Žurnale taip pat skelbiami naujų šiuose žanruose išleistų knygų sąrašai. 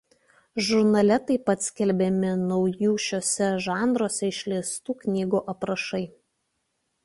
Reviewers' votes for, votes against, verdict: 0, 2, rejected